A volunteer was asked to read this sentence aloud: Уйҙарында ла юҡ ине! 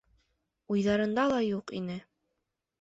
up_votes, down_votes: 1, 2